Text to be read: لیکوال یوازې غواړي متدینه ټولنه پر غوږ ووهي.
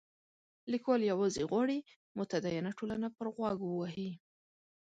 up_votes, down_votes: 2, 0